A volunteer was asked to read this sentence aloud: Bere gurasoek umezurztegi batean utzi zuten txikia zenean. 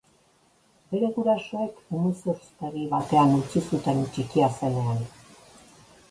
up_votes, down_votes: 0, 3